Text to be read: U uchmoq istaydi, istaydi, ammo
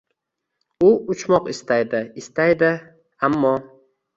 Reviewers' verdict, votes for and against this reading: accepted, 2, 0